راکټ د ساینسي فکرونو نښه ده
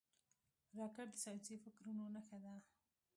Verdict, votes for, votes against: rejected, 1, 2